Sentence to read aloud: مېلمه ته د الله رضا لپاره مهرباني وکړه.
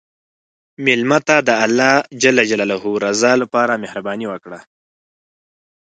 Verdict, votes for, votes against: accepted, 4, 0